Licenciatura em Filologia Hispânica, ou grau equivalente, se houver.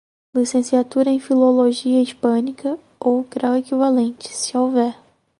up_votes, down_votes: 2, 0